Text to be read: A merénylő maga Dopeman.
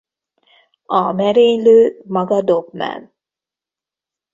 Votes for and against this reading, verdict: 1, 2, rejected